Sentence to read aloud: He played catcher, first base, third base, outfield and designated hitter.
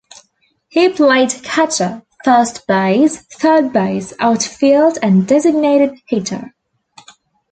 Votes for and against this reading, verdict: 2, 0, accepted